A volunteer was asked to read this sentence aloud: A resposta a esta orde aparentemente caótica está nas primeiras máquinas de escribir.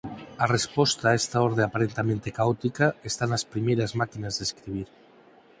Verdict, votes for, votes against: rejected, 0, 4